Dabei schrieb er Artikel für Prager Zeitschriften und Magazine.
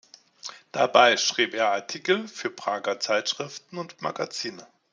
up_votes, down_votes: 2, 0